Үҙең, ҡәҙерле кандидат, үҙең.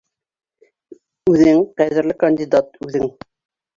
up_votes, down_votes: 1, 2